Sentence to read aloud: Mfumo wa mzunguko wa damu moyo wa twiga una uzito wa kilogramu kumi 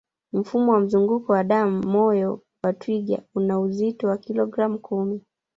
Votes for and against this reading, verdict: 3, 0, accepted